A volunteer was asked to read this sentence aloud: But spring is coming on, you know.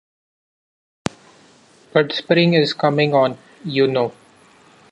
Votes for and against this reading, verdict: 2, 0, accepted